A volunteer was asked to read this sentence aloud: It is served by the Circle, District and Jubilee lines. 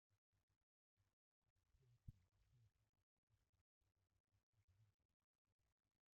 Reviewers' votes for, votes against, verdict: 0, 2, rejected